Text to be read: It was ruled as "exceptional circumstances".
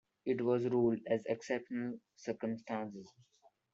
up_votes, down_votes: 1, 2